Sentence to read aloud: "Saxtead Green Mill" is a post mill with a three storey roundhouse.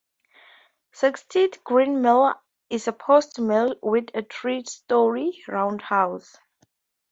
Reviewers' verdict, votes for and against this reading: accepted, 2, 0